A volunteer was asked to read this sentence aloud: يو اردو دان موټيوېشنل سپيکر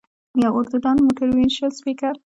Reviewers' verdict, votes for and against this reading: rejected, 1, 2